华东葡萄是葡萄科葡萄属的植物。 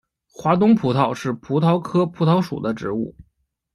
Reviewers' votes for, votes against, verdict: 1, 2, rejected